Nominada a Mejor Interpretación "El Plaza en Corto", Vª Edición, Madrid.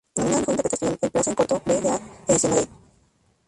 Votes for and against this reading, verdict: 2, 4, rejected